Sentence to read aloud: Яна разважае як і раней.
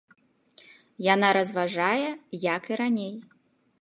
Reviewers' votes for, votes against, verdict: 1, 2, rejected